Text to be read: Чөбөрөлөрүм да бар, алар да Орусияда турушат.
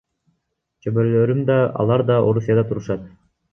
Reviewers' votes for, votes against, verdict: 0, 3, rejected